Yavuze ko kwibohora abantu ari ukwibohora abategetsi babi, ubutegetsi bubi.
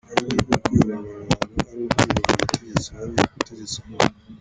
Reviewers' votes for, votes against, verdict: 0, 2, rejected